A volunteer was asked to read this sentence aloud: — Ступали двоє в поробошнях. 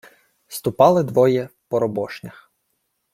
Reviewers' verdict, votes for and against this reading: accepted, 2, 0